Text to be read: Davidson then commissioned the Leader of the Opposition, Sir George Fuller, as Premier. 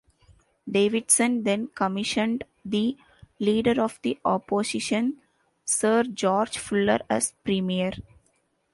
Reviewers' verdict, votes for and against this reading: accepted, 2, 0